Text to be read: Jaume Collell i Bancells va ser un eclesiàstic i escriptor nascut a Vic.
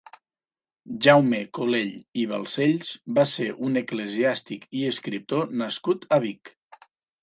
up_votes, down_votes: 2, 3